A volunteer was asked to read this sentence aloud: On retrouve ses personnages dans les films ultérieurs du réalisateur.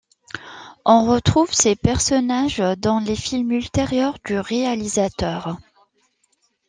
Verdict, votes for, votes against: accepted, 2, 0